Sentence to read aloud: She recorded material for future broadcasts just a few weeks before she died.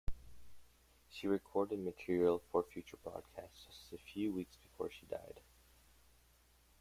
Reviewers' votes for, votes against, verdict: 2, 0, accepted